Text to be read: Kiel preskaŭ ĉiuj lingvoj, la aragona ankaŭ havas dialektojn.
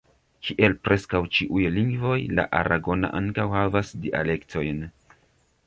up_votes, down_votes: 1, 2